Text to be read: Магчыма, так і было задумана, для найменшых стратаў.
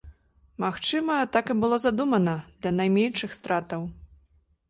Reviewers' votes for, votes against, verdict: 2, 0, accepted